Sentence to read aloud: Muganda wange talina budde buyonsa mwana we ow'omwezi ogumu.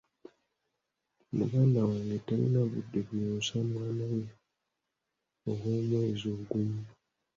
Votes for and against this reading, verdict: 2, 0, accepted